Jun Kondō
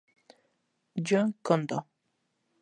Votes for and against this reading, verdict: 0, 2, rejected